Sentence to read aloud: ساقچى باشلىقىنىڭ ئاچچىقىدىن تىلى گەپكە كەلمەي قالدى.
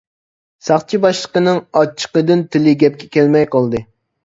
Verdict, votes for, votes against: accepted, 2, 0